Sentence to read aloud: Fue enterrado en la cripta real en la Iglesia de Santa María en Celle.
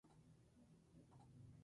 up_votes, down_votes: 0, 2